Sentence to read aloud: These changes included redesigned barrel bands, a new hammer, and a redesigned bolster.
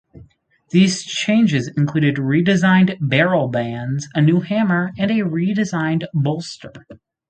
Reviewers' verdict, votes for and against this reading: accepted, 4, 0